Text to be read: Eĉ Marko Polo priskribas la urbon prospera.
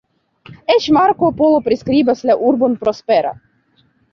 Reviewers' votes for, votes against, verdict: 2, 1, accepted